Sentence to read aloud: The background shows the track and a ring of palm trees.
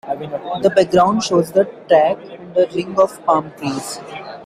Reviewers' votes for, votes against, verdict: 2, 0, accepted